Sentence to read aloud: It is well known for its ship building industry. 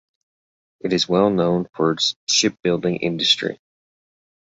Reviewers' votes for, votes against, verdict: 2, 0, accepted